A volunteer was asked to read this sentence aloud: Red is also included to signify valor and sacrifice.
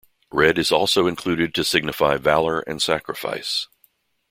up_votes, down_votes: 2, 0